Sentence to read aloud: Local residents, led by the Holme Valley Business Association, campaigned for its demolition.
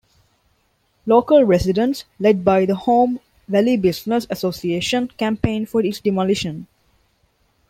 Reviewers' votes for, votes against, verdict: 2, 0, accepted